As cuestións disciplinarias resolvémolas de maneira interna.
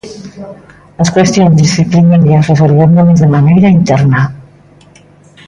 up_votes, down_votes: 1, 2